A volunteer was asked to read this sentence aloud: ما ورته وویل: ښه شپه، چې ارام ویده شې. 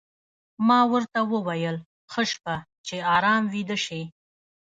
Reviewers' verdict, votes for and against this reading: rejected, 1, 2